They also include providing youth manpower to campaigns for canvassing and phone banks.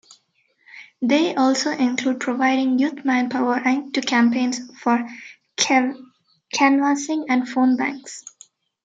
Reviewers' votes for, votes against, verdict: 0, 2, rejected